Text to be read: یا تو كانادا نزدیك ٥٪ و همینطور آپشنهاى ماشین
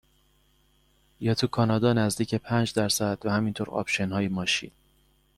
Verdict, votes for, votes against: rejected, 0, 2